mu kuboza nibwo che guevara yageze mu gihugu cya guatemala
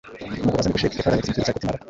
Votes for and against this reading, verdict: 1, 2, rejected